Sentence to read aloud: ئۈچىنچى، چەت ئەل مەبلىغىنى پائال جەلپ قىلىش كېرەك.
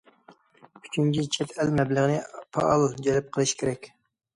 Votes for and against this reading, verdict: 2, 1, accepted